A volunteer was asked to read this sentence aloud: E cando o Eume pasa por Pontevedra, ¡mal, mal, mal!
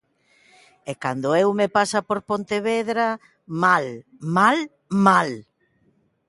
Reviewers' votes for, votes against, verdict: 4, 0, accepted